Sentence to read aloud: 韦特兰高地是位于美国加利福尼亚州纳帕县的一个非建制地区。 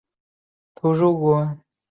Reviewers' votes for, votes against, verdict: 0, 2, rejected